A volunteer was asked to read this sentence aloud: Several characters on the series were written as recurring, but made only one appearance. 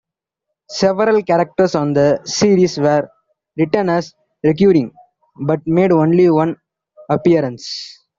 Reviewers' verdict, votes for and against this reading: rejected, 0, 2